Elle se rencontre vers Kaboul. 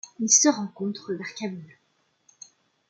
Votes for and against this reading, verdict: 2, 1, accepted